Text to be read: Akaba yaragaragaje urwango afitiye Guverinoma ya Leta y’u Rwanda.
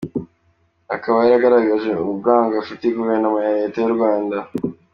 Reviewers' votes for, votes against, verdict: 3, 0, accepted